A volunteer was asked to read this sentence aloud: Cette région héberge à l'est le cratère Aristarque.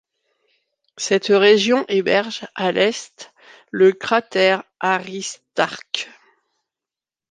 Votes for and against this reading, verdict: 3, 0, accepted